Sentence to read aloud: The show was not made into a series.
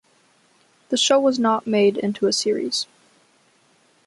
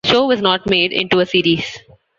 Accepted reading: first